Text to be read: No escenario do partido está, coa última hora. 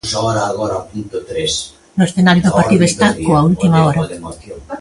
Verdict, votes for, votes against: rejected, 0, 2